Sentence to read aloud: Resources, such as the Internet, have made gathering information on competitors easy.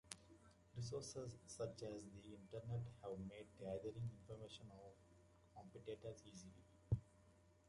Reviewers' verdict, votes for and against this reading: accepted, 2, 1